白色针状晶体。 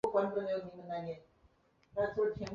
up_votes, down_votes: 1, 4